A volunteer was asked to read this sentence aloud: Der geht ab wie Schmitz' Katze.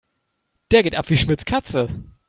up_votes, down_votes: 2, 0